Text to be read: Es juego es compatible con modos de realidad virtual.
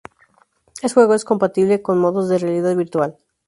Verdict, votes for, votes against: rejected, 0, 2